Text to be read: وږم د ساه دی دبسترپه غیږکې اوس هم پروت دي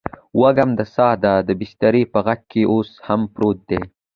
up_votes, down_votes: 2, 0